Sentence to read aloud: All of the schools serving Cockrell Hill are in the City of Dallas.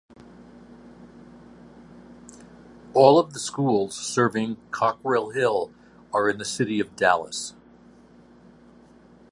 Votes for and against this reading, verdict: 2, 0, accepted